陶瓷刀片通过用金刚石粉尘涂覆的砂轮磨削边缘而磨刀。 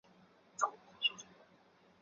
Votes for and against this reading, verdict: 3, 2, accepted